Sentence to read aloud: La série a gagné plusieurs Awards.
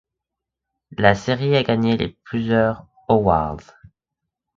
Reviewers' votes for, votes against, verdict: 1, 2, rejected